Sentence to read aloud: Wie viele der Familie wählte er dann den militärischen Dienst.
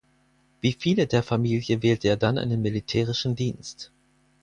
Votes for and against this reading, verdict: 0, 4, rejected